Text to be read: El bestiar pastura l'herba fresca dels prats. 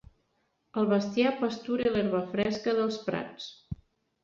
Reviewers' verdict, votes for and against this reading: accepted, 3, 0